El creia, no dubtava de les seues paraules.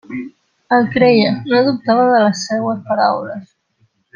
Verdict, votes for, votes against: rejected, 1, 2